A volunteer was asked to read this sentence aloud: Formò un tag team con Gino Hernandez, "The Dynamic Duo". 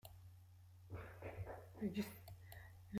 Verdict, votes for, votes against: rejected, 0, 2